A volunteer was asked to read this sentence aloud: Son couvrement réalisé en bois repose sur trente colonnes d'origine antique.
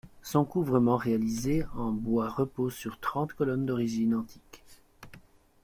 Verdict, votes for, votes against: accepted, 2, 1